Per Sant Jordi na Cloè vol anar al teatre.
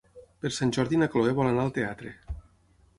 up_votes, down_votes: 6, 0